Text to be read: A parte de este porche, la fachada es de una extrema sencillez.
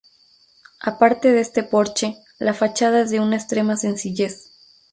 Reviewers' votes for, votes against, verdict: 2, 0, accepted